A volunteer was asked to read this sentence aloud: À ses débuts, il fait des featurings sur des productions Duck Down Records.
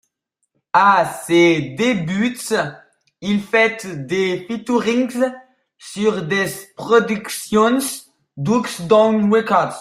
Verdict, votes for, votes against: rejected, 0, 2